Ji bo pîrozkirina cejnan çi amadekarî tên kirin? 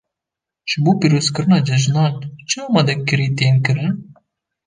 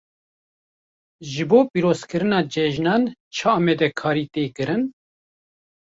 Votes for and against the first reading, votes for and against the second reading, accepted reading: 1, 2, 2, 1, second